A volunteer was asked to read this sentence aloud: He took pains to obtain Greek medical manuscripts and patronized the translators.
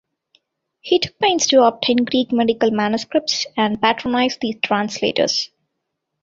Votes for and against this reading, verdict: 2, 0, accepted